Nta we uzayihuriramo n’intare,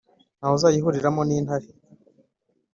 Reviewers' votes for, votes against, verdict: 3, 0, accepted